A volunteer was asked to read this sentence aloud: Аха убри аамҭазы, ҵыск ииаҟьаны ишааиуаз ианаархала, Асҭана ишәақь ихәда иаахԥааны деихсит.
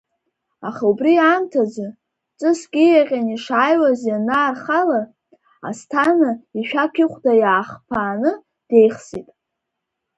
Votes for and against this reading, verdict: 3, 0, accepted